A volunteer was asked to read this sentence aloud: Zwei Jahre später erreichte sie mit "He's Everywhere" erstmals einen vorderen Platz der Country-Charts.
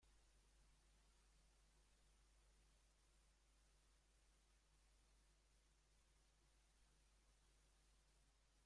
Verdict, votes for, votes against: rejected, 0, 2